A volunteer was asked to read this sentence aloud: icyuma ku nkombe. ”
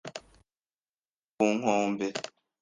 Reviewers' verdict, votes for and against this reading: rejected, 1, 2